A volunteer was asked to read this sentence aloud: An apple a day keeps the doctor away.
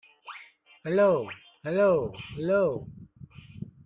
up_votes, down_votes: 0, 2